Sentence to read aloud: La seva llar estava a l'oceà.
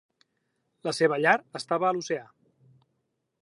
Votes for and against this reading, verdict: 3, 0, accepted